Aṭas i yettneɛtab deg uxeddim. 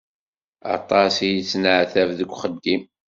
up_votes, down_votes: 2, 0